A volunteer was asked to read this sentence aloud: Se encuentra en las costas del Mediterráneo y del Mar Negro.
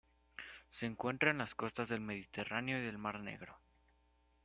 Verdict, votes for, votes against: accepted, 2, 0